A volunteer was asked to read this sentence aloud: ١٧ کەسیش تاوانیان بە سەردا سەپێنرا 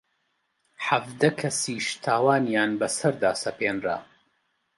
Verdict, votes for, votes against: rejected, 0, 2